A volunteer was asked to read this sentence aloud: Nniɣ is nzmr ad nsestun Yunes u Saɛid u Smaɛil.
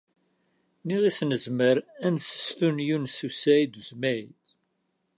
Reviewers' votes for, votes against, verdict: 1, 2, rejected